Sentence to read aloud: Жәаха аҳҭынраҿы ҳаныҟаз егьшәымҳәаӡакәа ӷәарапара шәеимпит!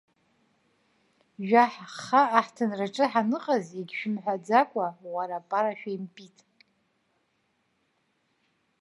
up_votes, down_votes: 1, 2